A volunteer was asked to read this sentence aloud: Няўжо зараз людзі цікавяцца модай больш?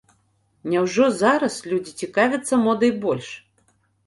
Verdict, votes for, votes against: accepted, 2, 0